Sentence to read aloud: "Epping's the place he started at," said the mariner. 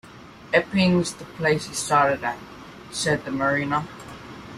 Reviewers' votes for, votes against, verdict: 2, 0, accepted